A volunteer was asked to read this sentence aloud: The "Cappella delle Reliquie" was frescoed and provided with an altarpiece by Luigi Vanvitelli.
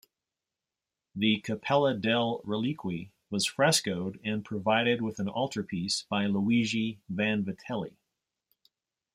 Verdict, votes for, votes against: rejected, 1, 2